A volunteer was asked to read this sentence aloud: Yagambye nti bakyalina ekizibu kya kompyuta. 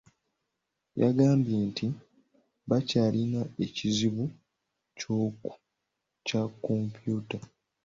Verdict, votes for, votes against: rejected, 1, 2